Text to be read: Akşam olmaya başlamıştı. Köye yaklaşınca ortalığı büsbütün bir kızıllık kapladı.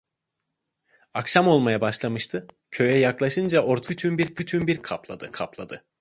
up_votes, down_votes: 0, 2